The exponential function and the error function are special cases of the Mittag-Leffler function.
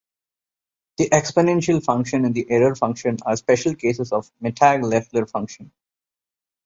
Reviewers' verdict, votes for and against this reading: accepted, 2, 1